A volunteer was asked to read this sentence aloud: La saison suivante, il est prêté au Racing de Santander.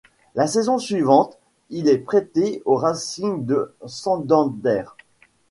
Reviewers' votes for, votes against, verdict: 1, 2, rejected